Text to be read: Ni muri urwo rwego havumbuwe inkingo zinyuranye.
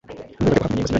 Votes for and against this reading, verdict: 1, 2, rejected